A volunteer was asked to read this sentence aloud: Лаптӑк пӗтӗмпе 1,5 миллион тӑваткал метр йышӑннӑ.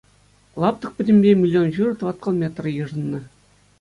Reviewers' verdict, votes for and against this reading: rejected, 0, 2